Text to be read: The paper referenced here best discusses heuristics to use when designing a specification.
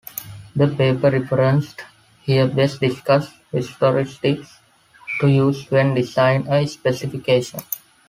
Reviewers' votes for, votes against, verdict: 2, 1, accepted